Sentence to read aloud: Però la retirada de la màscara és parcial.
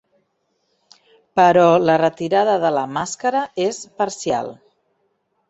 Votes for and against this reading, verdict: 2, 0, accepted